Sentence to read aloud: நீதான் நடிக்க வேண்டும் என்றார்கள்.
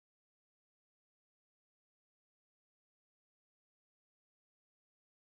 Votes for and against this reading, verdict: 0, 2, rejected